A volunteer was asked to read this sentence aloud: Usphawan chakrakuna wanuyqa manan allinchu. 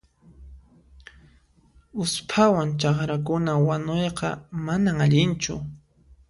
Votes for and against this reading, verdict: 2, 0, accepted